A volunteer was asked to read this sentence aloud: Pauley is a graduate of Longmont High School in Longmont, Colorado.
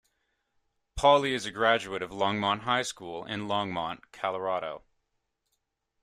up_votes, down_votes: 1, 2